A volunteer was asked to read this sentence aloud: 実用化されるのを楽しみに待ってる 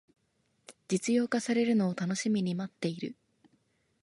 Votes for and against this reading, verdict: 2, 0, accepted